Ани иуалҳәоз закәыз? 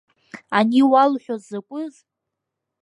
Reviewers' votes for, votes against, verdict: 2, 0, accepted